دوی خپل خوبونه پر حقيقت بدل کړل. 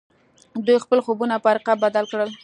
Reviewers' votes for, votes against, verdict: 2, 1, accepted